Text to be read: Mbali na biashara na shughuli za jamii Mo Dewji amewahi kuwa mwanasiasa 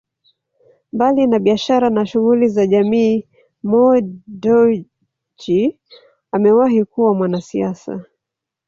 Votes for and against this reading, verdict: 0, 2, rejected